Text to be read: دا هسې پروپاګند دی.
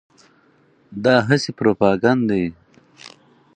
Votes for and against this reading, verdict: 2, 0, accepted